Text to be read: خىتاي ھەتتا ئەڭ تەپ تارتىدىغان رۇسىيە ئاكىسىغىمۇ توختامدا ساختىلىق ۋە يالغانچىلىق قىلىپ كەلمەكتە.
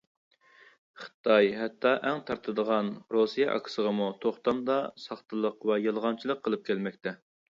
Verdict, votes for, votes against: rejected, 0, 2